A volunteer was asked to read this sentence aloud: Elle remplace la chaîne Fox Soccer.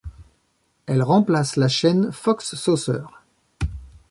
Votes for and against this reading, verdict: 0, 2, rejected